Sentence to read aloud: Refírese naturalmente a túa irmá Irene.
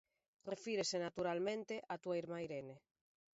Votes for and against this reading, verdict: 2, 0, accepted